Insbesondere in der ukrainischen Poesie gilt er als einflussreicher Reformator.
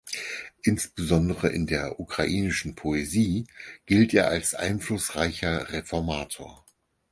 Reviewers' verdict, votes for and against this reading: accepted, 4, 0